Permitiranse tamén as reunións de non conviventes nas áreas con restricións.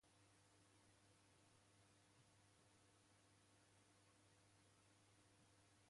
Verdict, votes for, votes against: rejected, 0, 2